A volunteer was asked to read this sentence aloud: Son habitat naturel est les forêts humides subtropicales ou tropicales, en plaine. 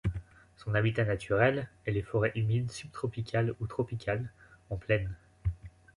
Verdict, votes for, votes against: accepted, 2, 1